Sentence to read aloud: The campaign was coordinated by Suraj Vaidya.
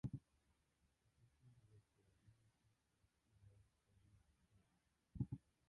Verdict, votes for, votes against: rejected, 0, 2